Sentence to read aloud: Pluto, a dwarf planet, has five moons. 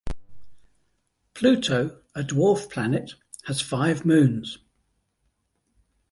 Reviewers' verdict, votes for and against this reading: accepted, 2, 0